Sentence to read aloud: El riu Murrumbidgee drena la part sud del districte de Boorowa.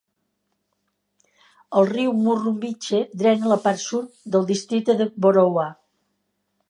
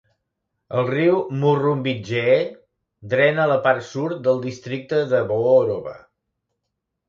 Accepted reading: first